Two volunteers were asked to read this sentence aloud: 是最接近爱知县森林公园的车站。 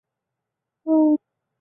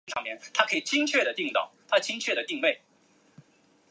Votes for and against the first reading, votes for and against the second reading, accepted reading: 1, 3, 3, 2, second